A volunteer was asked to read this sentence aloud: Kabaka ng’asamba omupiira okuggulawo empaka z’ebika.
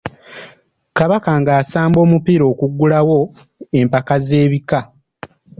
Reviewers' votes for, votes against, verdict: 2, 0, accepted